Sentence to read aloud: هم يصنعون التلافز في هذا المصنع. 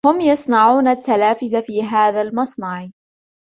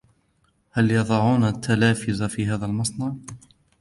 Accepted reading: first